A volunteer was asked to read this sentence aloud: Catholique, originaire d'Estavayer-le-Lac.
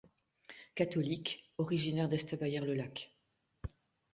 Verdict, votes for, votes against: rejected, 1, 2